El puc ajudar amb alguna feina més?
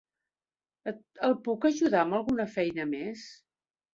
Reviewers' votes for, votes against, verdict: 1, 2, rejected